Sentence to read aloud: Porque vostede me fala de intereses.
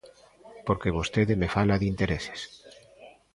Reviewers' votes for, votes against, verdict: 2, 0, accepted